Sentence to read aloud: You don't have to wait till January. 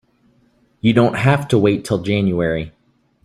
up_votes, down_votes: 2, 0